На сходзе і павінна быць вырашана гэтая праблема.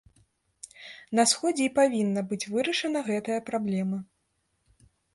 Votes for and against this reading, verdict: 2, 0, accepted